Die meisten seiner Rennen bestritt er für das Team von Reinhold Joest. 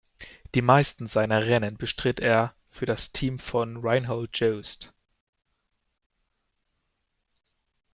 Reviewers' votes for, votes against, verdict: 1, 2, rejected